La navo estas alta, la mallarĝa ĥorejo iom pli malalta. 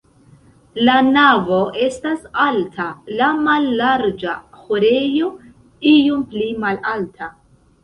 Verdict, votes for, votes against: rejected, 1, 2